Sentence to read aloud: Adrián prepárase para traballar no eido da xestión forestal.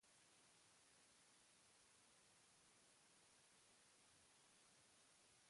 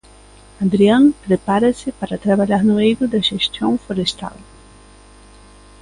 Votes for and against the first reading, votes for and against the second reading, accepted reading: 0, 2, 2, 0, second